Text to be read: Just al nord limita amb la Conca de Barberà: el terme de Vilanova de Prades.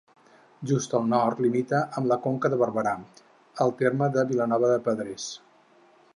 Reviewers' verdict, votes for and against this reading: rejected, 0, 4